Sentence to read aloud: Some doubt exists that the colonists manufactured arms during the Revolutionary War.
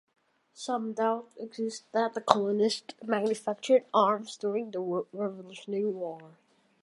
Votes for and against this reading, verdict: 0, 2, rejected